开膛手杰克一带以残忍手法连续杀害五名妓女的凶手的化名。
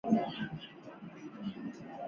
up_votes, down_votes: 0, 2